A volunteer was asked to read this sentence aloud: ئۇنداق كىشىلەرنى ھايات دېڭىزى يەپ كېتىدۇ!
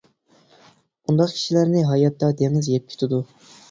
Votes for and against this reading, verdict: 0, 2, rejected